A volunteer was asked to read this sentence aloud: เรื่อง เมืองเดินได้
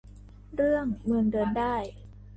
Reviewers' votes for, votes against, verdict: 2, 0, accepted